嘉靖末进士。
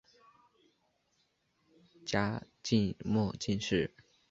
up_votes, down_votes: 2, 0